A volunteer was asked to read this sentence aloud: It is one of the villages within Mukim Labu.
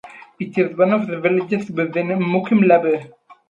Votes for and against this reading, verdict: 2, 0, accepted